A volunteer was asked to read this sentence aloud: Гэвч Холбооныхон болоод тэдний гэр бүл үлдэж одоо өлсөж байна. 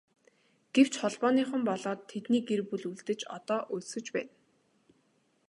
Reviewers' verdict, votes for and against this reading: accepted, 2, 0